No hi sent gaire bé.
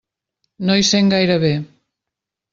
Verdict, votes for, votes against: accepted, 3, 0